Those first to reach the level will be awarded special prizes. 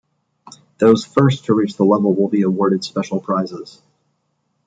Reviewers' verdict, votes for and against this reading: accepted, 2, 1